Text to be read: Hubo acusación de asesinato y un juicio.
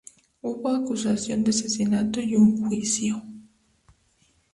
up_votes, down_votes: 2, 0